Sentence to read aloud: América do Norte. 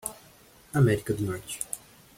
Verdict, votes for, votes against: rejected, 1, 2